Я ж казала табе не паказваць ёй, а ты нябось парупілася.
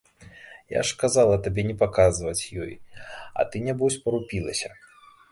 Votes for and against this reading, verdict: 2, 0, accepted